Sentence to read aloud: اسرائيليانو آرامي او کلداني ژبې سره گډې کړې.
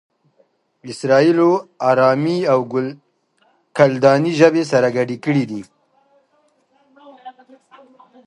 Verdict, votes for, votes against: rejected, 1, 2